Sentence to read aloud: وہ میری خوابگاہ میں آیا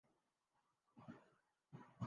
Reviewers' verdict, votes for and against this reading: rejected, 0, 3